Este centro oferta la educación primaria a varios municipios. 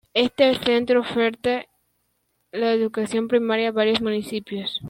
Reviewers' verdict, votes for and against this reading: accepted, 2, 1